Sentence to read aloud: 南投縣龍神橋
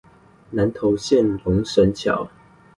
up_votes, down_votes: 2, 0